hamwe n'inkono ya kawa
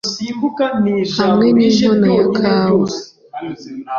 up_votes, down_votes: 2, 0